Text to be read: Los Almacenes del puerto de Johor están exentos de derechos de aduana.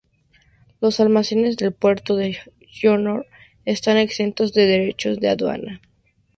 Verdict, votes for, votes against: rejected, 2, 2